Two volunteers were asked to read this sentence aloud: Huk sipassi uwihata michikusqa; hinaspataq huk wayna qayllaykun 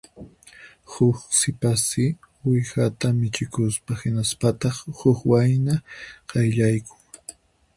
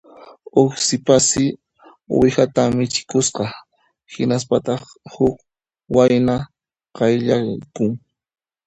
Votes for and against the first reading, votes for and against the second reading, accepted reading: 4, 2, 1, 2, first